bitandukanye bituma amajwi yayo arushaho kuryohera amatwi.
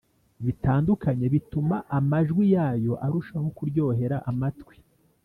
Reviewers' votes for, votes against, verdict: 2, 0, accepted